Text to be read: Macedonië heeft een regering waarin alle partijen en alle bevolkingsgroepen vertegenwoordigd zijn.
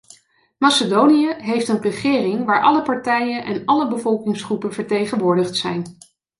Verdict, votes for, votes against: rejected, 1, 2